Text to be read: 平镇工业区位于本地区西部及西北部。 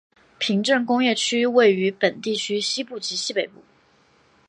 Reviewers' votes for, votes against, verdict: 2, 0, accepted